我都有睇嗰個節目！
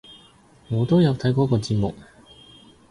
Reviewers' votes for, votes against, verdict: 2, 0, accepted